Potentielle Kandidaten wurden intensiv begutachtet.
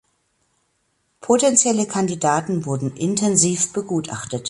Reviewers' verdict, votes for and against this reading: accepted, 2, 0